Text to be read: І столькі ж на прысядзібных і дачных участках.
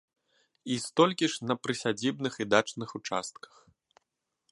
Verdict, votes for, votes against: accepted, 2, 0